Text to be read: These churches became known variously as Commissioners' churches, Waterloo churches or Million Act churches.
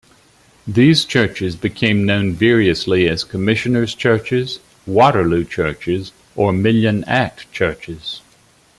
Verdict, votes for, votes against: accepted, 2, 0